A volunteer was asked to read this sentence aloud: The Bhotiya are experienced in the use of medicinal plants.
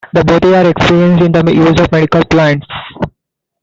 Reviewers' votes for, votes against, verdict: 0, 2, rejected